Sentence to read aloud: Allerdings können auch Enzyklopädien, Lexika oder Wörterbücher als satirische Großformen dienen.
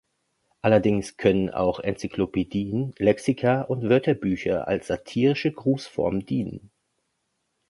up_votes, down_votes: 0, 2